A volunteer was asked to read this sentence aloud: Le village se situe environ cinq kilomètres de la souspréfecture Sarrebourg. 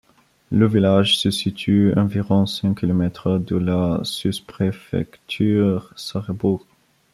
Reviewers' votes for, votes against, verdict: 0, 2, rejected